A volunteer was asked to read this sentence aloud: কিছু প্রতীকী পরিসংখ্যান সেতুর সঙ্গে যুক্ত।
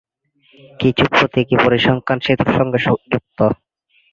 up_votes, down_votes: 0, 2